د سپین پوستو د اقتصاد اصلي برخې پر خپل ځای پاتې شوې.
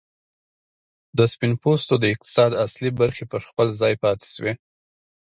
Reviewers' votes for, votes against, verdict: 2, 0, accepted